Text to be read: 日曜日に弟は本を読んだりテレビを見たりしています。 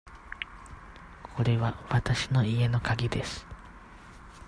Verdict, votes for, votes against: rejected, 0, 2